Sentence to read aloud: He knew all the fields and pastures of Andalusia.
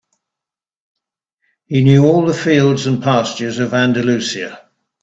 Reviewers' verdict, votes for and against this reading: accepted, 2, 0